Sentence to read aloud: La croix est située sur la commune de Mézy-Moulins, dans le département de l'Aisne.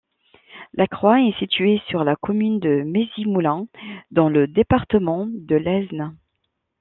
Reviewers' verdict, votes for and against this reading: rejected, 0, 2